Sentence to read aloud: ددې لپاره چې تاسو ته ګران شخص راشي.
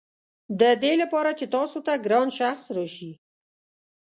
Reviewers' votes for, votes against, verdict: 2, 0, accepted